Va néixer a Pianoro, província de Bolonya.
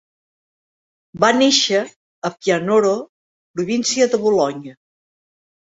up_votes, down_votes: 4, 1